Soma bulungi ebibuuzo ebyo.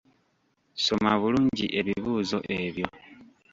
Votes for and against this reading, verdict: 1, 2, rejected